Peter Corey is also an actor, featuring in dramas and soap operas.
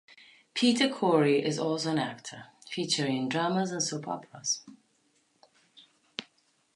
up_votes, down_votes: 2, 0